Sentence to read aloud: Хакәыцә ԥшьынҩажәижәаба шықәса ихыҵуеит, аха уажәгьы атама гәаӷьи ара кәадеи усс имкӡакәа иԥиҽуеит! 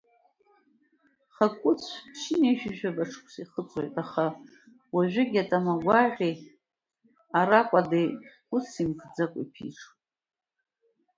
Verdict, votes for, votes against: accepted, 2, 0